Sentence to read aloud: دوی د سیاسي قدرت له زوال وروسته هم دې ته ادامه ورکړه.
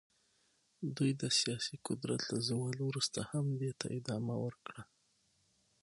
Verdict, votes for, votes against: accepted, 6, 0